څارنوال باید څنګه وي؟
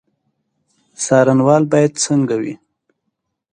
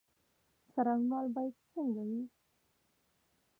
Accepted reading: first